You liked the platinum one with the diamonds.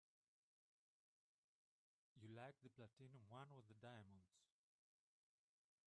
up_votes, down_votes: 2, 5